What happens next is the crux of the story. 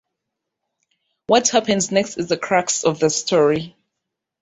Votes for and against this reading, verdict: 1, 2, rejected